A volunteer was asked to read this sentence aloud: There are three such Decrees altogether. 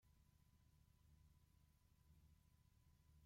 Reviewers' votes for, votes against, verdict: 0, 2, rejected